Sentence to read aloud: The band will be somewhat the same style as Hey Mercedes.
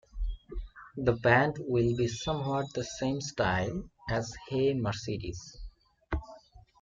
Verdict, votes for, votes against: accepted, 2, 1